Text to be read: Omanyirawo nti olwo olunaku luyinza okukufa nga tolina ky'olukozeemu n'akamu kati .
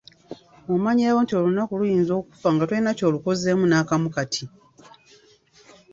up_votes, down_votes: 1, 2